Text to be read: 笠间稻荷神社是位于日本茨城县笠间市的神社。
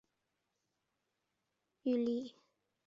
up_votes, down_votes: 0, 4